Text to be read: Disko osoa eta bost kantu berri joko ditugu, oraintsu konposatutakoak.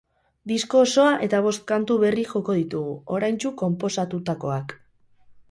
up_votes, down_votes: 4, 0